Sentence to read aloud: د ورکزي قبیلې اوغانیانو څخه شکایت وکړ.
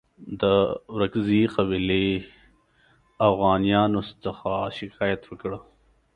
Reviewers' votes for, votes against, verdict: 1, 2, rejected